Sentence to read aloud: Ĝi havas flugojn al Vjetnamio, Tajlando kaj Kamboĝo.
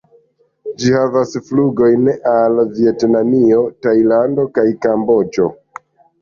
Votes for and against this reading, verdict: 2, 0, accepted